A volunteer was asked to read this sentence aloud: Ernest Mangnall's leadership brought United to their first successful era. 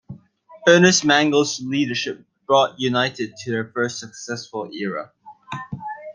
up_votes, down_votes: 0, 2